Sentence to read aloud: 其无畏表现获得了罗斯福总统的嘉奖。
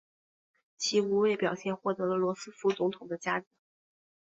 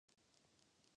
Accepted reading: first